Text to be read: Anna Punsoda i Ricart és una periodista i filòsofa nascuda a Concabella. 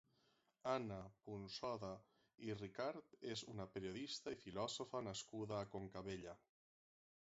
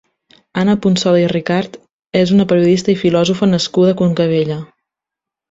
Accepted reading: second